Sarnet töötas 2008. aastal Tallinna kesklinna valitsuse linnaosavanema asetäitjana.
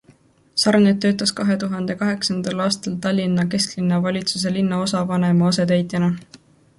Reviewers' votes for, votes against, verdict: 0, 2, rejected